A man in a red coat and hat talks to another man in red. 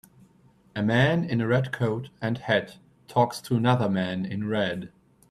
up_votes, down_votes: 2, 0